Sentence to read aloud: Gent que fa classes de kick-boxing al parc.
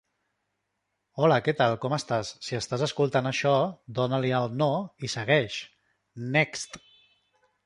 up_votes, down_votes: 0, 2